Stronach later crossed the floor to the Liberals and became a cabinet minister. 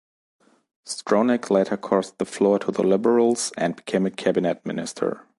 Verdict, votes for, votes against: accepted, 2, 0